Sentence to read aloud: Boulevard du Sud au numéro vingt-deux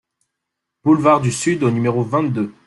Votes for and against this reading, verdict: 2, 0, accepted